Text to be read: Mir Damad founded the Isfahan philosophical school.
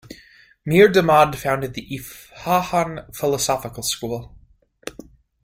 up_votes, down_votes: 0, 2